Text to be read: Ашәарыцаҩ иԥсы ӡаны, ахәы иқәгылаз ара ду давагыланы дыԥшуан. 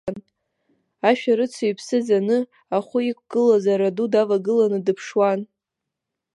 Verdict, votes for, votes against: accepted, 2, 0